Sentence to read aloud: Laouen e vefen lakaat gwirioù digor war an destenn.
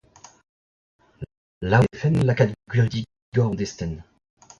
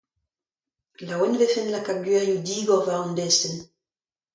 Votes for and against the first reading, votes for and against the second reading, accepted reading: 1, 2, 2, 0, second